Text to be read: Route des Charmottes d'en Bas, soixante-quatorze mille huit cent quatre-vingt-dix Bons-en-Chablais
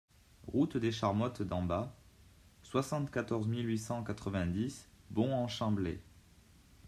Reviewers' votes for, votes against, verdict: 2, 1, accepted